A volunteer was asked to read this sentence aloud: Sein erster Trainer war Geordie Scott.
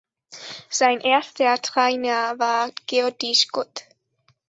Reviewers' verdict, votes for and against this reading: accepted, 2, 1